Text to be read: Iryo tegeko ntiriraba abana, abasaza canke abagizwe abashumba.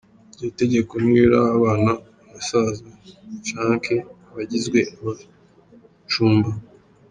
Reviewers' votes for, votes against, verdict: 1, 2, rejected